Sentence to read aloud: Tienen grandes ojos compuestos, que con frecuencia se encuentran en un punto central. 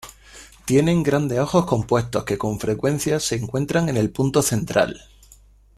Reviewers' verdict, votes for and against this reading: rejected, 0, 2